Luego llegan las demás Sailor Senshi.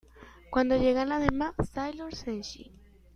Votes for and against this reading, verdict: 1, 2, rejected